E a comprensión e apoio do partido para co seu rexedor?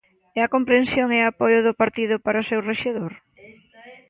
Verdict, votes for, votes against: rejected, 0, 2